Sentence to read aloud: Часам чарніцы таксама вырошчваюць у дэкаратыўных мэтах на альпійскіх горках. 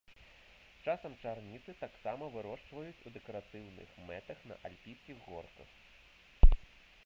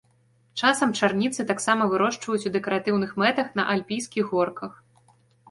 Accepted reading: second